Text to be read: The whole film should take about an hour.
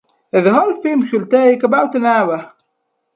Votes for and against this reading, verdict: 4, 0, accepted